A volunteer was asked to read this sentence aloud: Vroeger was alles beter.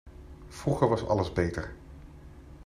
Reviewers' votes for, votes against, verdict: 2, 0, accepted